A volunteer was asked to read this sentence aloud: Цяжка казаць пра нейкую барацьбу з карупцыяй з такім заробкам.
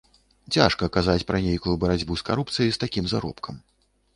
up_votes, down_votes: 2, 0